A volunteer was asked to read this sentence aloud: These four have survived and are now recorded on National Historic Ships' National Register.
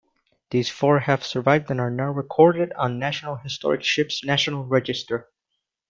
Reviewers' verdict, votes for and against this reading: accepted, 2, 0